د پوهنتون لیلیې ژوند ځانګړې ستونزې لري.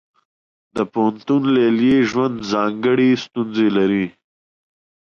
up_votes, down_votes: 2, 0